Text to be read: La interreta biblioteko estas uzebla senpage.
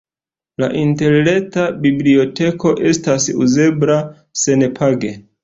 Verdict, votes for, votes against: accepted, 2, 0